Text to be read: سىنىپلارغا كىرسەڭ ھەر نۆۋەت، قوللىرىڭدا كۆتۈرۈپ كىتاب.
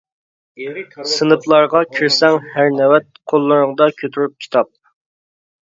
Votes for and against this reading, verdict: 2, 0, accepted